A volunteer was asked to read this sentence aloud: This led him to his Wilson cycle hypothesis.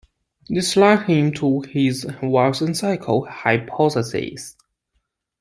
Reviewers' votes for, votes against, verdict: 0, 2, rejected